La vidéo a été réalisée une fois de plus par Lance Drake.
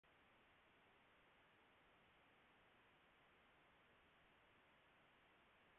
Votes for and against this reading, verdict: 0, 2, rejected